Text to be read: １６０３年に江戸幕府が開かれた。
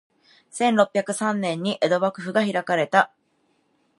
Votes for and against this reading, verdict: 0, 2, rejected